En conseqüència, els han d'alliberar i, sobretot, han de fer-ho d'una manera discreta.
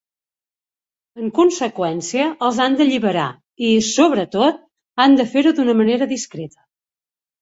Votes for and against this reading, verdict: 2, 0, accepted